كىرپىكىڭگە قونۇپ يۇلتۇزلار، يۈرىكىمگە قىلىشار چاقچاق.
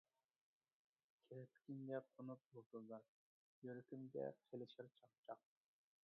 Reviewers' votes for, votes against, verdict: 0, 2, rejected